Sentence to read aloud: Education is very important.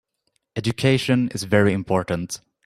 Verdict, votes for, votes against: accepted, 3, 0